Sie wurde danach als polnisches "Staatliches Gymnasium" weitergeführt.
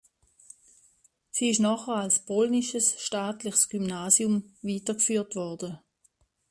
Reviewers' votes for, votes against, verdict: 0, 2, rejected